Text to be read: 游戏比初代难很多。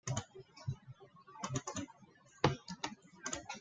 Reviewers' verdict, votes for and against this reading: rejected, 0, 2